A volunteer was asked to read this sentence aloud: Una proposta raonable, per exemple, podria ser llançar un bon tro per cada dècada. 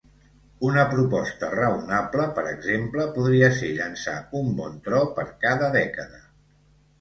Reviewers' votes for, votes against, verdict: 2, 0, accepted